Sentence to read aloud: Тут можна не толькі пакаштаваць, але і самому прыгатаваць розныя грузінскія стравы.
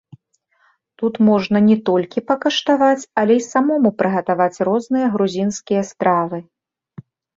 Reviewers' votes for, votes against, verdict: 2, 1, accepted